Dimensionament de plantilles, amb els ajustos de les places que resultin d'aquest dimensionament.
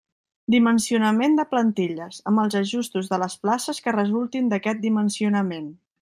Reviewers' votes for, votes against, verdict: 3, 0, accepted